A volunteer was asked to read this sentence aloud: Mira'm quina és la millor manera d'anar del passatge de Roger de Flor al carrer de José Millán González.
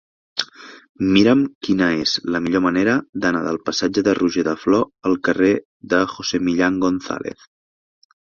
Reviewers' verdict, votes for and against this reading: accepted, 2, 0